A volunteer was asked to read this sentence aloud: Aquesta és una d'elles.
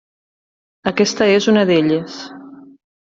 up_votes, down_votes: 3, 0